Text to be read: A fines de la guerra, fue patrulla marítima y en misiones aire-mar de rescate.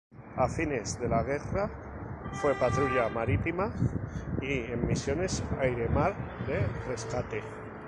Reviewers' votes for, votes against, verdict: 0, 2, rejected